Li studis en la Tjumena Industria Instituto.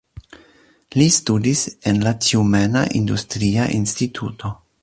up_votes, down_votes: 2, 0